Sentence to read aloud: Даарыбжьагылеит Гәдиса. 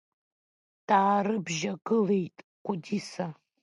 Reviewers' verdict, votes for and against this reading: rejected, 1, 2